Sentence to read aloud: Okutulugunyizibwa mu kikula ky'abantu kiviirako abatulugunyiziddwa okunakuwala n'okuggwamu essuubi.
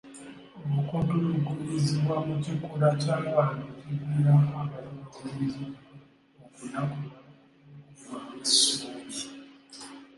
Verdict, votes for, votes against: rejected, 0, 2